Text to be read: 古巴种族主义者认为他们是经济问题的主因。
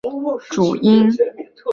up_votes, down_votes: 0, 2